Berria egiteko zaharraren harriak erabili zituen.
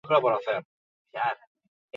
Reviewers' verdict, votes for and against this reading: rejected, 0, 6